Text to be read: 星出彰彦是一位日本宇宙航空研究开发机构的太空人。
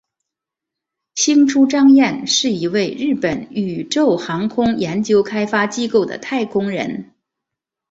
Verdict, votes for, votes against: accepted, 2, 0